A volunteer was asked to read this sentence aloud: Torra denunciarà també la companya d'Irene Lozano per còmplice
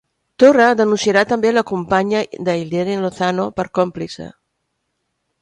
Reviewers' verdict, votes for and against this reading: rejected, 1, 2